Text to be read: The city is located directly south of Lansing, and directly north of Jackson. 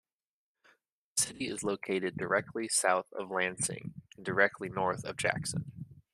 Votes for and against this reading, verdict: 1, 2, rejected